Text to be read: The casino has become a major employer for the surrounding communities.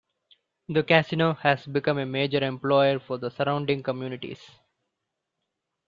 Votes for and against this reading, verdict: 2, 0, accepted